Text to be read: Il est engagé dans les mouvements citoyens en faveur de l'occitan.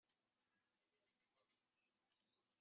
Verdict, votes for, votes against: rejected, 0, 2